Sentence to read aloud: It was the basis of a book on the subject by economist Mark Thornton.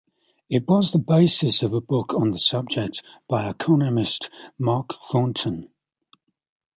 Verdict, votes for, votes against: accepted, 2, 0